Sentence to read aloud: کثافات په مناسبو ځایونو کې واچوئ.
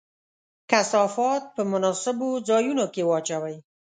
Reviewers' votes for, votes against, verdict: 2, 0, accepted